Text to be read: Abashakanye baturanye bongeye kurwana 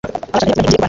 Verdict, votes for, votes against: rejected, 1, 2